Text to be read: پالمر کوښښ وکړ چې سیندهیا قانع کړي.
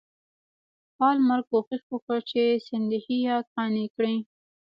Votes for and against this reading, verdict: 1, 2, rejected